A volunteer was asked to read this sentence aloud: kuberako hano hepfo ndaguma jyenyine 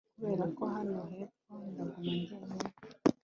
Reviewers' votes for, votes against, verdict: 4, 0, accepted